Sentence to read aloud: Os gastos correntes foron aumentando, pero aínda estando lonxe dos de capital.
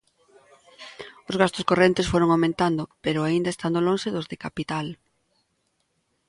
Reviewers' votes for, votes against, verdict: 3, 0, accepted